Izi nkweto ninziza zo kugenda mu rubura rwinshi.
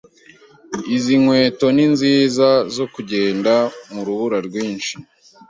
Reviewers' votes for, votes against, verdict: 2, 0, accepted